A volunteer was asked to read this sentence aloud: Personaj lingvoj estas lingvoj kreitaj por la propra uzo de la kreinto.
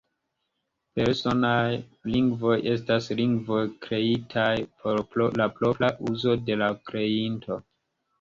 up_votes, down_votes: 1, 2